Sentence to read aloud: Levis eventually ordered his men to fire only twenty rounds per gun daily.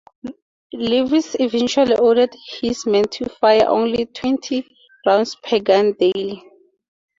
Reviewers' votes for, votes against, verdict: 4, 0, accepted